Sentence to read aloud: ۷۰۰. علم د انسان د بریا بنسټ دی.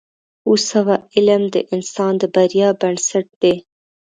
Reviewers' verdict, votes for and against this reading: rejected, 0, 2